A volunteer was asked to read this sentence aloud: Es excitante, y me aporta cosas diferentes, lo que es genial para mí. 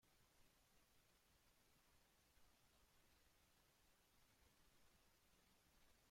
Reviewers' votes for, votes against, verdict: 0, 2, rejected